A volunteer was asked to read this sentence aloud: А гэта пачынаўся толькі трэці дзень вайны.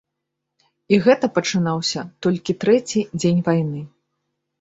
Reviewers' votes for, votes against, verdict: 1, 3, rejected